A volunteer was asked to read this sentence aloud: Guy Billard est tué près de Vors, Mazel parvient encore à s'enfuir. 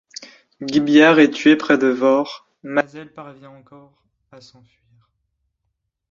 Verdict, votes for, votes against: accepted, 2, 1